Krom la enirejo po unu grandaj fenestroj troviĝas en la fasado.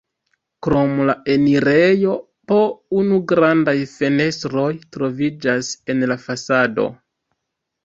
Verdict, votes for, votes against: accepted, 2, 0